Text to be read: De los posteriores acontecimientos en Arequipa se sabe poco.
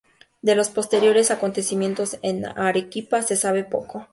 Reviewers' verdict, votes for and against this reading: accepted, 2, 0